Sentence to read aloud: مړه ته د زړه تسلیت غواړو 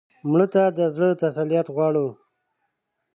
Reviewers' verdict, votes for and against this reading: accepted, 2, 0